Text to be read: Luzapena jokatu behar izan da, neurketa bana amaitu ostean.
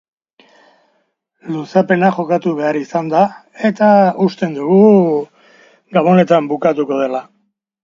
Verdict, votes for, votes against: rejected, 0, 2